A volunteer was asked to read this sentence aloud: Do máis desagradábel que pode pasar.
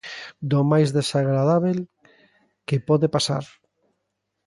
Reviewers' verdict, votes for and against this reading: accepted, 2, 0